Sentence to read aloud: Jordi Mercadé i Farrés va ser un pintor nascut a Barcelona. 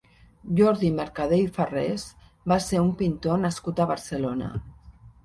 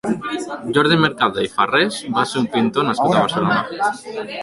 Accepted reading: first